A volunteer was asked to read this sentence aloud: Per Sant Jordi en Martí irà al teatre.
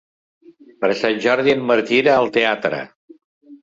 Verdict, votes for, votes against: accepted, 2, 0